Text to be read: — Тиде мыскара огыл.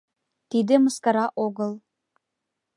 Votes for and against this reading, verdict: 2, 0, accepted